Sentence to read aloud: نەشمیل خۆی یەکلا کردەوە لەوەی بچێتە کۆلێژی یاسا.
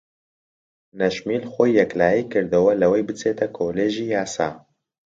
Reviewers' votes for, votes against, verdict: 1, 2, rejected